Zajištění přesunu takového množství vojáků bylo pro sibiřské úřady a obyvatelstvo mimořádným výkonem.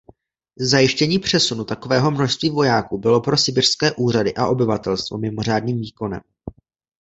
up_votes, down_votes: 2, 0